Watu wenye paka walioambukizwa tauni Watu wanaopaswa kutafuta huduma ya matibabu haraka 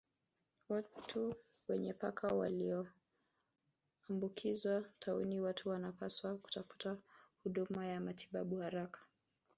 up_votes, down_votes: 0, 2